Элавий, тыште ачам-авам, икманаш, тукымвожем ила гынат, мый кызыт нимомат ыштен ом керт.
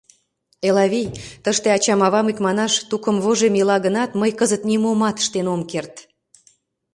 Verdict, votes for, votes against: accepted, 2, 0